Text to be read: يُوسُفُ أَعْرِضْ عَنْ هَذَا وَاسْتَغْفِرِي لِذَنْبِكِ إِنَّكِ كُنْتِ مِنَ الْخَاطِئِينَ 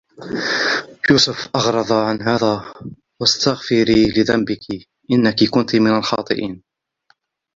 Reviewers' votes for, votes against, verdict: 0, 2, rejected